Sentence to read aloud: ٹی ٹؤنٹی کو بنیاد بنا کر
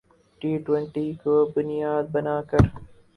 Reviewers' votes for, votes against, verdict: 0, 4, rejected